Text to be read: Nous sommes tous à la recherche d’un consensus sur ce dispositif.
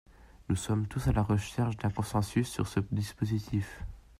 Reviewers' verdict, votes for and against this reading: accepted, 2, 0